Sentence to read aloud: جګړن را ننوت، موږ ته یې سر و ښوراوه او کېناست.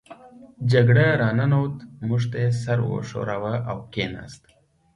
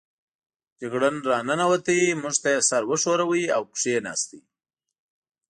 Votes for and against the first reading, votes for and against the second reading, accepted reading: 2, 0, 0, 2, first